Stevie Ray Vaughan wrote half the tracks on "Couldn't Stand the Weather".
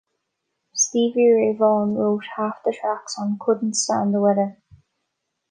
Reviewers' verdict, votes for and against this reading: accepted, 2, 1